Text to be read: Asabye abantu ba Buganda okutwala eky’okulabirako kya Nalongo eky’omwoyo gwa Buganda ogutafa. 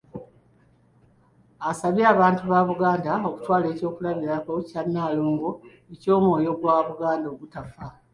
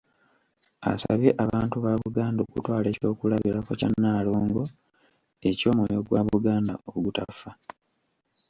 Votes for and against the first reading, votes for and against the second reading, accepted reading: 2, 1, 1, 2, first